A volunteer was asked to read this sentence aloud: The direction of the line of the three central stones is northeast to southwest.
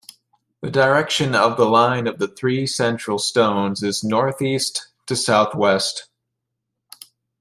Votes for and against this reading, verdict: 2, 0, accepted